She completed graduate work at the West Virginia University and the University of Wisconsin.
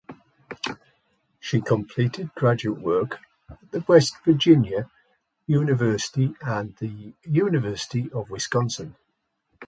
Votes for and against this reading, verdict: 1, 2, rejected